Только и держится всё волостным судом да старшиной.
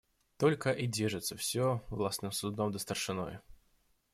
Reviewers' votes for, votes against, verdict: 0, 2, rejected